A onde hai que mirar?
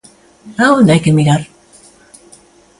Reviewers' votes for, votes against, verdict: 2, 0, accepted